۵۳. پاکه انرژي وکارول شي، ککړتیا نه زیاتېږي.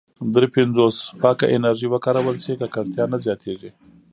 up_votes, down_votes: 0, 2